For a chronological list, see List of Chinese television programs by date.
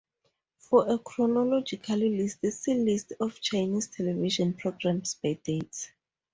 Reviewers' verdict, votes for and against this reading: accepted, 2, 0